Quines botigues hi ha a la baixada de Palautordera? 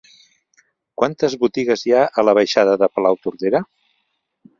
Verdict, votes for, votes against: rejected, 1, 2